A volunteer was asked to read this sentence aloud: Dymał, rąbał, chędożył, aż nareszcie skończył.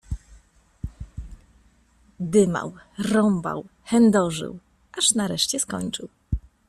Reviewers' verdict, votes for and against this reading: accepted, 2, 0